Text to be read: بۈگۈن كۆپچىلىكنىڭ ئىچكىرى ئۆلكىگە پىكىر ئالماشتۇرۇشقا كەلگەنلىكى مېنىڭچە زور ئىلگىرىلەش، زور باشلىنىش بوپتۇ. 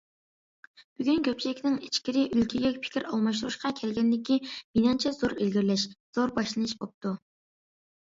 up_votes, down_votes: 2, 0